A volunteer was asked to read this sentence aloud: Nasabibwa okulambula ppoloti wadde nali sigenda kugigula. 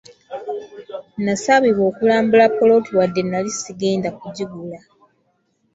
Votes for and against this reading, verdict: 2, 0, accepted